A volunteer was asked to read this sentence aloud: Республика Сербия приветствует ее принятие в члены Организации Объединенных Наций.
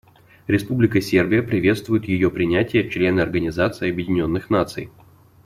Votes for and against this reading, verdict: 2, 0, accepted